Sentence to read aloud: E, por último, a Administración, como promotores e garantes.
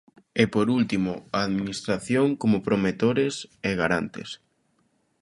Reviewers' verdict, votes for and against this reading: rejected, 0, 2